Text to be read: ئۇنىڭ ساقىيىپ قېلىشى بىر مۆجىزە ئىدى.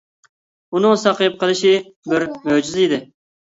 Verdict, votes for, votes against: accepted, 2, 0